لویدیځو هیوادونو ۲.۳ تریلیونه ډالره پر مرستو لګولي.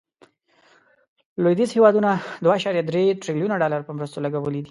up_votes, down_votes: 0, 2